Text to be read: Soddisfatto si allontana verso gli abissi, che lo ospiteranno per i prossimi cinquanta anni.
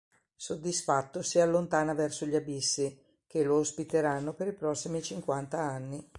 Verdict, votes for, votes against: accepted, 2, 0